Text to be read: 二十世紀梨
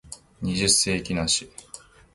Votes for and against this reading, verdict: 2, 0, accepted